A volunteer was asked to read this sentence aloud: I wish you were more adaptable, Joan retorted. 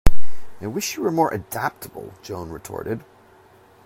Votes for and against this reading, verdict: 2, 0, accepted